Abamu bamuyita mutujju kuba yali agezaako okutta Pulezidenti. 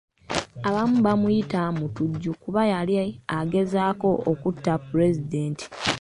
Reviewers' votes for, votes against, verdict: 1, 2, rejected